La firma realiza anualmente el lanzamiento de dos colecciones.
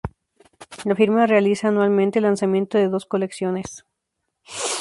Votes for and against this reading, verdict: 0, 2, rejected